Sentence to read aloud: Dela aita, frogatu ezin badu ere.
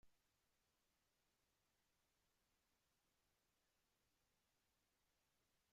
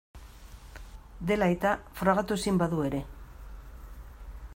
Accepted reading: second